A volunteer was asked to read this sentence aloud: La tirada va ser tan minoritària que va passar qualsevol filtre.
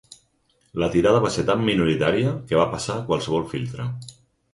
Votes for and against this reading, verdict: 4, 0, accepted